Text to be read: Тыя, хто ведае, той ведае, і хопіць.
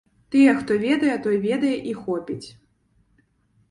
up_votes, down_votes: 3, 0